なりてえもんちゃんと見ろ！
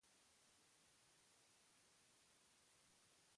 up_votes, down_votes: 0, 2